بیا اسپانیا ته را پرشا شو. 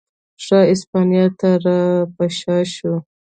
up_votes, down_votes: 1, 2